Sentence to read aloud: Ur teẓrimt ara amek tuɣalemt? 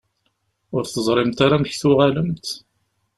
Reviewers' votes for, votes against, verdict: 2, 0, accepted